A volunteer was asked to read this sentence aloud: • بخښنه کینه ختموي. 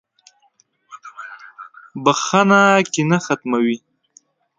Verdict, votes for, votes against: accepted, 2, 0